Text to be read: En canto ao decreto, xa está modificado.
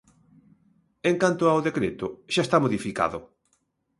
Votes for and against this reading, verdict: 2, 0, accepted